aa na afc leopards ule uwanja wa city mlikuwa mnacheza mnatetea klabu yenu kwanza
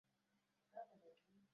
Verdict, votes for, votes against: rejected, 0, 2